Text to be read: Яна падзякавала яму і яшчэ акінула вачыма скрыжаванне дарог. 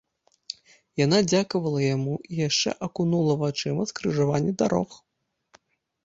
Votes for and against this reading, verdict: 0, 2, rejected